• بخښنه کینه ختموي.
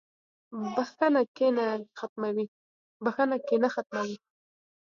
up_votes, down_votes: 1, 2